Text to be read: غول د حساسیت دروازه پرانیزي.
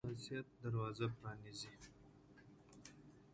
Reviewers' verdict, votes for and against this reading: rejected, 1, 2